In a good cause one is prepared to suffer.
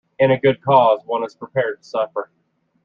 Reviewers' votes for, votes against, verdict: 2, 1, accepted